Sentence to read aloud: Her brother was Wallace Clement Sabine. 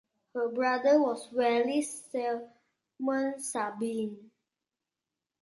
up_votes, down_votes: 0, 2